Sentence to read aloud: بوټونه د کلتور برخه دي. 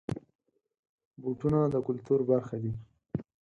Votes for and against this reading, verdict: 4, 0, accepted